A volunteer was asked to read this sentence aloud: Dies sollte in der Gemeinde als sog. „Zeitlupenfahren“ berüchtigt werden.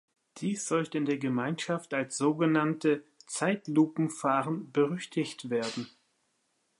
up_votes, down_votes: 0, 2